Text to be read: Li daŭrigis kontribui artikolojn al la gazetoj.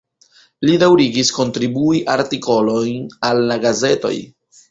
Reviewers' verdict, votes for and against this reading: rejected, 0, 2